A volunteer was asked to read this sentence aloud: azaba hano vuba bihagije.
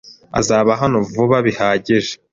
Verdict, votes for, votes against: accepted, 2, 0